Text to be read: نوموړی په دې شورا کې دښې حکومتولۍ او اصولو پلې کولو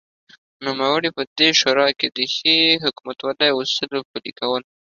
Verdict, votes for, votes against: accepted, 2, 0